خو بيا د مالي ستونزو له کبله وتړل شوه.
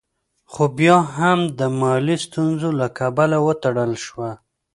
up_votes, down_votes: 1, 2